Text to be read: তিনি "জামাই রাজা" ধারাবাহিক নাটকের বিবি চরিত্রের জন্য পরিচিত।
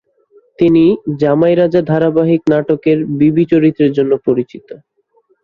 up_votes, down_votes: 7, 2